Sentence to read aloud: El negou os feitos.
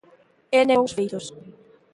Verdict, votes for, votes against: rejected, 0, 2